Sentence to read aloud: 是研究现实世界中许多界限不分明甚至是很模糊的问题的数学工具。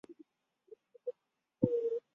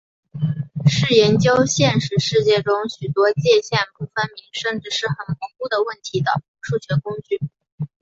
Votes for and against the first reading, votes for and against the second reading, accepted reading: 0, 3, 4, 0, second